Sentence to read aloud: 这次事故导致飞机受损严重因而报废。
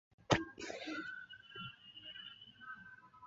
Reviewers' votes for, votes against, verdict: 0, 2, rejected